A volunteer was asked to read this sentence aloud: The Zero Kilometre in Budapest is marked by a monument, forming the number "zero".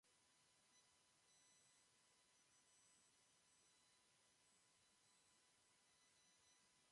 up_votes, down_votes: 0, 2